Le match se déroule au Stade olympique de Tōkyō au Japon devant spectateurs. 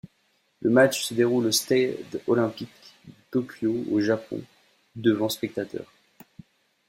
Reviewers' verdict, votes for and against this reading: rejected, 1, 2